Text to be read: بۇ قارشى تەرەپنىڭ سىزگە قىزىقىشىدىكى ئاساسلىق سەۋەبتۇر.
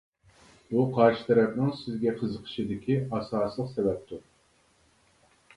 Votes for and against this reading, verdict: 2, 0, accepted